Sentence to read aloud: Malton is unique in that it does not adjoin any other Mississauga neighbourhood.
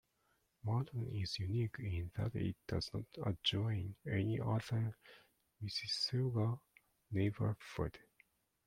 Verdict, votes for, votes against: rejected, 0, 2